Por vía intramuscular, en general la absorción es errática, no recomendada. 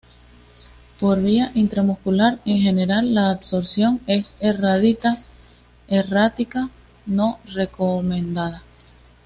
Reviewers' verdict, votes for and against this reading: rejected, 1, 2